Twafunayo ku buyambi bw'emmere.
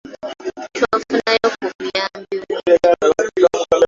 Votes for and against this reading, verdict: 0, 2, rejected